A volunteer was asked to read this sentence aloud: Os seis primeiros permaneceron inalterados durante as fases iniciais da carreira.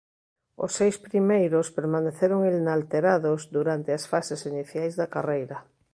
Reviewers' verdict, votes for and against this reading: rejected, 1, 2